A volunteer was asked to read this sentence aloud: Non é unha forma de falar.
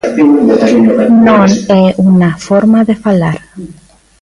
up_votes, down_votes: 0, 2